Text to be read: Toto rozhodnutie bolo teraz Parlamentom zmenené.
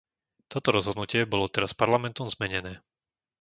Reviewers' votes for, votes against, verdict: 2, 0, accepted